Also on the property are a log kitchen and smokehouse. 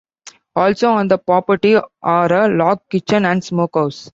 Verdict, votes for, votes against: accepted, 2, 0